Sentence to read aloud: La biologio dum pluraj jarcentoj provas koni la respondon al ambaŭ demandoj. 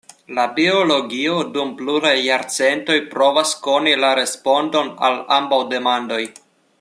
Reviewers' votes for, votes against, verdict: 2, 0, accepted